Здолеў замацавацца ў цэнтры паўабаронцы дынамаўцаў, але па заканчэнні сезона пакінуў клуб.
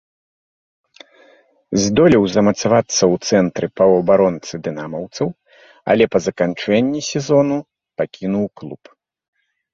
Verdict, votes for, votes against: rejected, 1, 2